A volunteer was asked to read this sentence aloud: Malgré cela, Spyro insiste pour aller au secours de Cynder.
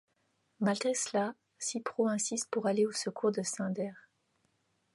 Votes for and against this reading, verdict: 1, 2, rejected